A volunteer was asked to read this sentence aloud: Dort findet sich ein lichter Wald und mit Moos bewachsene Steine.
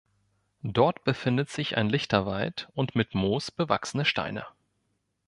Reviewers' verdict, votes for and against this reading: rejected, 0, 2